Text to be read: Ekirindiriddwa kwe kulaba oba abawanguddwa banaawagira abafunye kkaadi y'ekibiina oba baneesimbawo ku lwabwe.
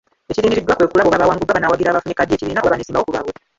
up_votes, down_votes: 0, 2